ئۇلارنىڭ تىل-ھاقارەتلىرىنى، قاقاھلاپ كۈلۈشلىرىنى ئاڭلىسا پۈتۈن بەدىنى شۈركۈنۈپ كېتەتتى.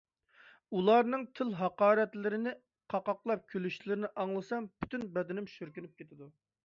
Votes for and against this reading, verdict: 0, 2, rejected